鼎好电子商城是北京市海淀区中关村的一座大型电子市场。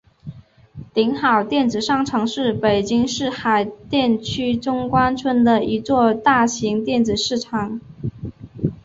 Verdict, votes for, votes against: accepted, 3, 0